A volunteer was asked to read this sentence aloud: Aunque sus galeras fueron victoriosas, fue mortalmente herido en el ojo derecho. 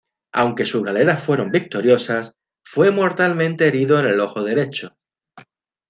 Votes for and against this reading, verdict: 2, 0, accepted